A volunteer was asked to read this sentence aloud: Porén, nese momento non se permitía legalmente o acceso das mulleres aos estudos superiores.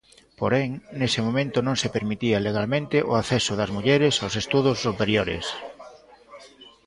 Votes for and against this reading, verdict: 0, 2, rejected